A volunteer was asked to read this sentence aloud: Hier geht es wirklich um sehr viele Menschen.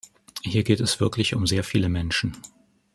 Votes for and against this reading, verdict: 2, 0, accepted